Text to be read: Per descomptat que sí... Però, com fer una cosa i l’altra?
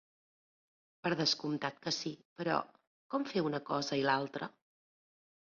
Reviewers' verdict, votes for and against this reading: accepted, 2, 0